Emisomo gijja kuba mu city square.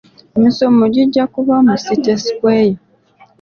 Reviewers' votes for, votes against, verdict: 2, 1, accepted